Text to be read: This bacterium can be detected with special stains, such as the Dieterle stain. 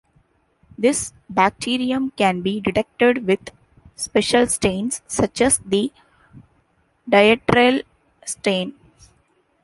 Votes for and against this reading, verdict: 2, 0, accepted